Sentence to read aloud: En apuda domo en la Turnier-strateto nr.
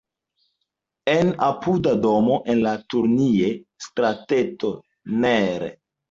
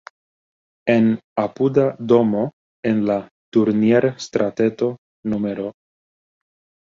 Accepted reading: second